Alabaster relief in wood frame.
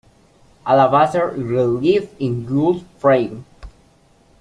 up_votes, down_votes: 2, 1